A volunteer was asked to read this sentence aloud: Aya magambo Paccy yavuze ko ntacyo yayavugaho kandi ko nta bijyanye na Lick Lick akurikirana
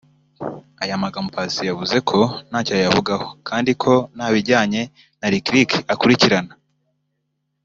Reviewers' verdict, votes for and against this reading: accepted, 2, 0